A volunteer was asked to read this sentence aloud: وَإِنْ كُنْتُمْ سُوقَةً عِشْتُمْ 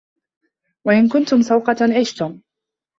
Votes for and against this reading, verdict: 2, 1, accepted